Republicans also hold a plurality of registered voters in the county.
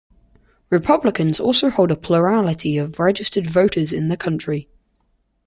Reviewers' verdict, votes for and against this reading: rejected, 0, 2